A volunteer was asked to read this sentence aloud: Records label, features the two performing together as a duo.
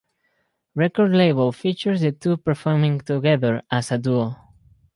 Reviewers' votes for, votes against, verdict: 0, 2, rejected